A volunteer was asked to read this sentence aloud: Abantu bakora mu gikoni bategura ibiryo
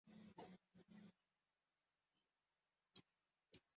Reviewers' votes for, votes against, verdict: 0, 2, rejected